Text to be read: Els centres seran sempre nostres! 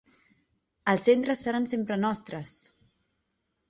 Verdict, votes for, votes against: accepted, 3, 0